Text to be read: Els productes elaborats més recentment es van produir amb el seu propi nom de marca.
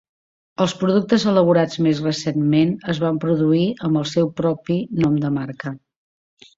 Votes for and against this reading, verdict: 5, 0, accepted